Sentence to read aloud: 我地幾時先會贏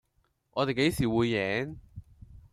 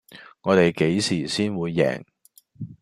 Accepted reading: second